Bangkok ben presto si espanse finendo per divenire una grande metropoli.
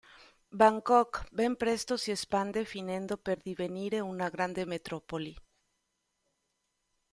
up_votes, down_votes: 0, 2